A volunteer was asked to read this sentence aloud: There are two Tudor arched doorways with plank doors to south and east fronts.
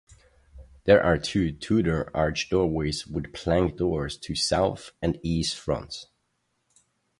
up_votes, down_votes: 2, 2